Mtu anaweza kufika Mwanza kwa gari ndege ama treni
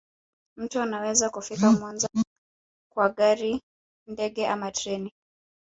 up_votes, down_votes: 1, 2